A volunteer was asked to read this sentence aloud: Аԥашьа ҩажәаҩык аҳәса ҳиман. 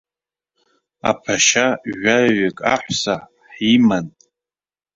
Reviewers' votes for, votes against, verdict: 0, 2, rejected